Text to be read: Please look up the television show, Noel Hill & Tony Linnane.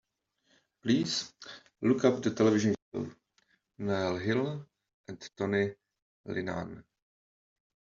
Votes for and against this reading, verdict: 1, 2, rejected